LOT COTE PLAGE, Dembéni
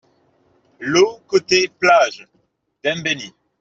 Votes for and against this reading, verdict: 2, 0, accepted